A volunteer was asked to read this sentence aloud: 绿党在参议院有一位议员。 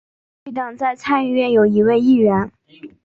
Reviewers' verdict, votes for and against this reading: accepted, 2, 0